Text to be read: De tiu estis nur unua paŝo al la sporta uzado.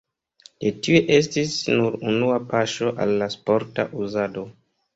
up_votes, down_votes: 2, 0